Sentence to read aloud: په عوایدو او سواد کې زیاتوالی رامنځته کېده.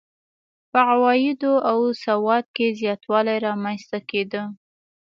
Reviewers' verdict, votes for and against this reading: accepted, 2, 0